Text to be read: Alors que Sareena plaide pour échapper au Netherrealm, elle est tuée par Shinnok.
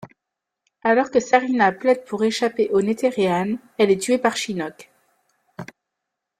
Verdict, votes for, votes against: accepted, 4, 0